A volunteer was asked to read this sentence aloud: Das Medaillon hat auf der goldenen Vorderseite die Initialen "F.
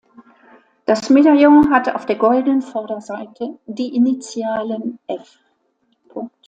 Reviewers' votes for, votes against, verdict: 0, 2, rejected